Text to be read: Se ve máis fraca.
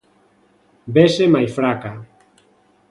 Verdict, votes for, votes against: rejected, 0, 2